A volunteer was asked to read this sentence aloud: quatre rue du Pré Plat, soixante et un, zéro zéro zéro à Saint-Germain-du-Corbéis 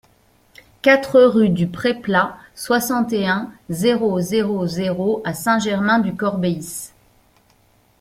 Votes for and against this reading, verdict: 2, 1, accepted